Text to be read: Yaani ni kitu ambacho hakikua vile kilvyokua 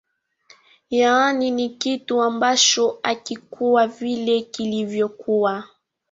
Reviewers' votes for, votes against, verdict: 2, 1, accepted